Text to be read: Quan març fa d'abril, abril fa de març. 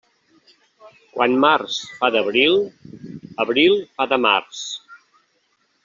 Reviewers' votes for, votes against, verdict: 1, 2, rejected